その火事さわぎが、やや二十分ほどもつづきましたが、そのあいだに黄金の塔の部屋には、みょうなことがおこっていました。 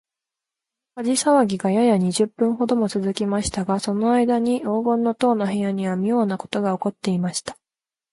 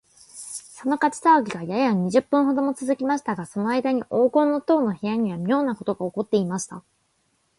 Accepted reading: second